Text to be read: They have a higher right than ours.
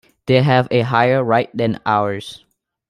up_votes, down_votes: 2, 0